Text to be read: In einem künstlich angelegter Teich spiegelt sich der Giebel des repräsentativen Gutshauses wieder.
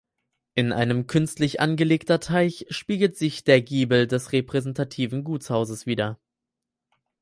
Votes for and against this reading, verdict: 4, 0, accepted